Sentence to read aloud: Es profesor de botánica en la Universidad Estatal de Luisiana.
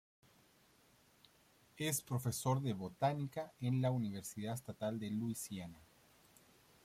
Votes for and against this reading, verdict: 2, 0, accepted